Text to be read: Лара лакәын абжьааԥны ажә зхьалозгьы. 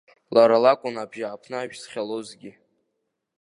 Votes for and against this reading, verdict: 2, 0, accepted